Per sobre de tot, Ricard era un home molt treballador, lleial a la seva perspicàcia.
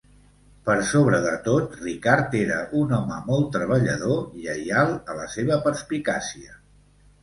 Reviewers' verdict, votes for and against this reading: accepted, 2, 0